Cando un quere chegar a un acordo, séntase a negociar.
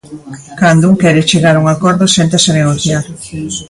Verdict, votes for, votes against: rejected, 0, 2